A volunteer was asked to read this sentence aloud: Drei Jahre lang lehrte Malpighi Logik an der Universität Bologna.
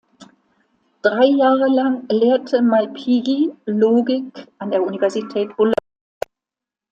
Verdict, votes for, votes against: rejected, 0, 2